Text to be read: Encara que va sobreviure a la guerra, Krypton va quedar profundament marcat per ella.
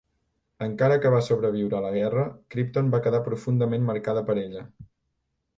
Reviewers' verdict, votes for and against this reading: rejected, 1, 2